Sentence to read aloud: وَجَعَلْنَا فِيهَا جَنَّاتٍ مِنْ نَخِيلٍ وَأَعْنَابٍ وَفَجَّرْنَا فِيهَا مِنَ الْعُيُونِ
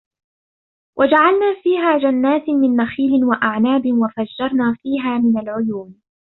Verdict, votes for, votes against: rejected, 1, 2